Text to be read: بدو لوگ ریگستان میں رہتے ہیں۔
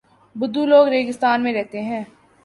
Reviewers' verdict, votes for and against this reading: accepted, 2, 0